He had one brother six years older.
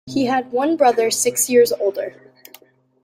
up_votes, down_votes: 2, 0